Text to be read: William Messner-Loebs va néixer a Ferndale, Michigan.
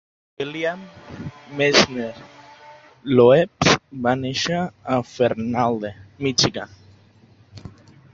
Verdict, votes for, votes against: rejected, 0, 2